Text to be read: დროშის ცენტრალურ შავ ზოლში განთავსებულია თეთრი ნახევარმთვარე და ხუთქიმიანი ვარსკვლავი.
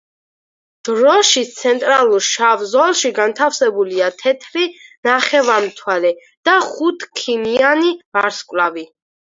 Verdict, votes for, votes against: accepted, 4, 0